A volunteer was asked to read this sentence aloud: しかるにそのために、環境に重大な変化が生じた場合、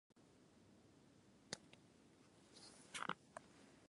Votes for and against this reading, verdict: 1, 4, rejected